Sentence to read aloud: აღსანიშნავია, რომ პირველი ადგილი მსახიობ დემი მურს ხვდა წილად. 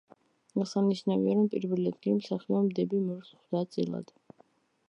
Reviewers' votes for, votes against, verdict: 0, 2, rejected